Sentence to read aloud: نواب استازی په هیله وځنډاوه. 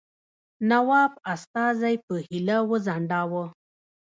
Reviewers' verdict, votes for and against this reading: rejected, 1, 2